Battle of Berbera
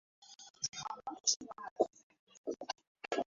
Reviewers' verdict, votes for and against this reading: rejected, 0, 2